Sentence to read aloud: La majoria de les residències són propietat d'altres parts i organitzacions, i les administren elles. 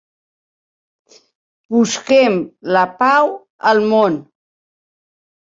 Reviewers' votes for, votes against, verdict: 0, 2, rejected